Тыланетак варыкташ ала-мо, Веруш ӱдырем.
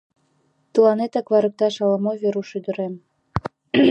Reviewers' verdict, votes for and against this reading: rejected, 3, 4